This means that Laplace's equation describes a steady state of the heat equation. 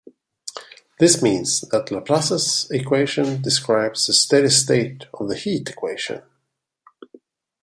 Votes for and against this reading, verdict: 2, 0, accepted